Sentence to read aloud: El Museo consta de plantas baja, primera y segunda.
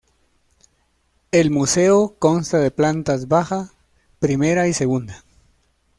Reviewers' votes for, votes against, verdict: 2, 0, accepted